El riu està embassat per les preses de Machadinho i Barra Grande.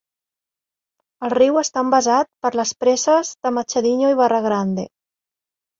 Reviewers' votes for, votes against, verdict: 2, 1, accepted